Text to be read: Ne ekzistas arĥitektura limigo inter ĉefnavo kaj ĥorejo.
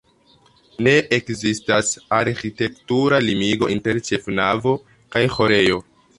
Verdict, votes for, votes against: accepted, 2, 0